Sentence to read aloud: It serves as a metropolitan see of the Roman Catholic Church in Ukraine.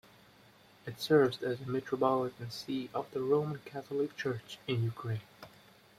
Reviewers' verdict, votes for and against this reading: rejected, 1, 2